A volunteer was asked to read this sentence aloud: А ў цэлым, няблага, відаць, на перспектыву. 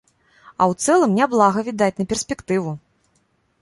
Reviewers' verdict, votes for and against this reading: rejected, 1, 2